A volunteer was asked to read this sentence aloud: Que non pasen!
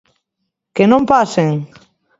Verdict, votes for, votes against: accepted, 2, 0